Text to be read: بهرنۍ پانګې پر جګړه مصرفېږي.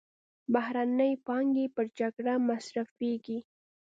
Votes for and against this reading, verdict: 2, 0, accepted